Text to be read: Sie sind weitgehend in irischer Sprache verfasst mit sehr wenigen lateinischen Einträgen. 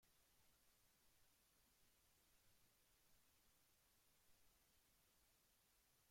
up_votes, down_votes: 0, 2